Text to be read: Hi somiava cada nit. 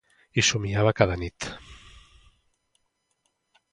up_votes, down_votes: 2, 0